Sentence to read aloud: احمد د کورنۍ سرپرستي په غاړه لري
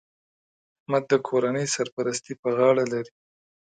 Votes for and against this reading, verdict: 2, 0, accepted